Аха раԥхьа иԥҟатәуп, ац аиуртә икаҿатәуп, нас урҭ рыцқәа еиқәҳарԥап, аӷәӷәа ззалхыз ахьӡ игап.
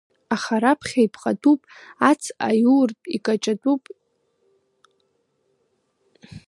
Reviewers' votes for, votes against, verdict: 0, 2, rejected